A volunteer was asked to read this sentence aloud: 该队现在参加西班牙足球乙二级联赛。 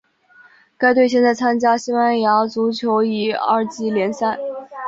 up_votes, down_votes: 3, 0